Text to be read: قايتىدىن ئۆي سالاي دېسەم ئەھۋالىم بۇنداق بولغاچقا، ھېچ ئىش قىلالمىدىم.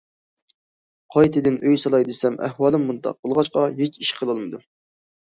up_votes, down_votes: 2, 0